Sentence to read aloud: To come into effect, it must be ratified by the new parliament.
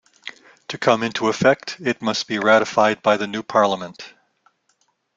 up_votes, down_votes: 2, 0